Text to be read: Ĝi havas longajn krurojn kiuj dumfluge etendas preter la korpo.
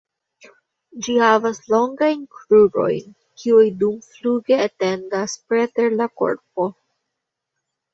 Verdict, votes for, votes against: accepted, 2, 0